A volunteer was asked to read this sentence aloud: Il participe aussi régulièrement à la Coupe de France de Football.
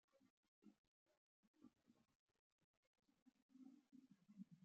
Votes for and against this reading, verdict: 0, 2, rejected